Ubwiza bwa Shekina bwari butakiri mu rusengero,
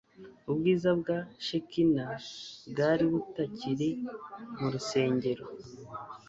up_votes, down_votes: 2, 0